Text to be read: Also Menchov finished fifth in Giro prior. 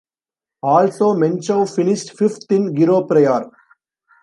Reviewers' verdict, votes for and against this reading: rejected, 1, 2